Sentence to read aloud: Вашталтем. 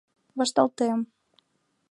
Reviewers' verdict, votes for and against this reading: accepted, 2, 0